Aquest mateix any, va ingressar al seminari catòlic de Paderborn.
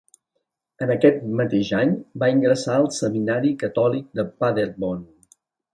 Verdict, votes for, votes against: rejected, 1, 2